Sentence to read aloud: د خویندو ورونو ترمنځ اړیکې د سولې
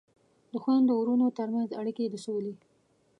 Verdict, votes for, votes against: accepted, 2, 0